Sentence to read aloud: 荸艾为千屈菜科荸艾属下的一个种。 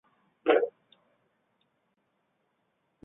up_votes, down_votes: 1, 2